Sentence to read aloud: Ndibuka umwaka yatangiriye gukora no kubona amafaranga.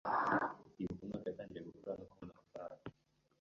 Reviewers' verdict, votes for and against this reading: rejected, 1, 2